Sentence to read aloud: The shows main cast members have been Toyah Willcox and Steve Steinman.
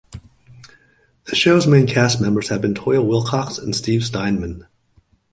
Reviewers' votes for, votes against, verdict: 2, 0, accepted